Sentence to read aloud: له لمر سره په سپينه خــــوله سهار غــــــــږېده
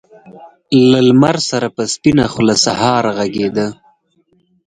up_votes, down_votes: 4, 0